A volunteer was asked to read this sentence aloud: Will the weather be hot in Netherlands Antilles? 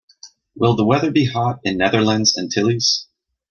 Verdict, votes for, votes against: accepted, 2, 0